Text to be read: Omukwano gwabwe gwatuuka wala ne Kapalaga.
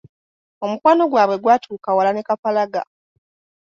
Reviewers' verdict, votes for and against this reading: accepted, 2, 1